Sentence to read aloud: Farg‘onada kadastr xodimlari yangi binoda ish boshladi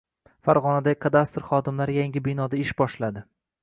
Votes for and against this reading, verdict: 2, 0, accepted